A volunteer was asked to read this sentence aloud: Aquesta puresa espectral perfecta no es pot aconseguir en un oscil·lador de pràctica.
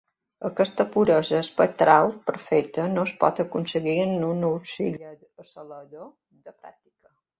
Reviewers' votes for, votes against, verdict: 2, 1, accepted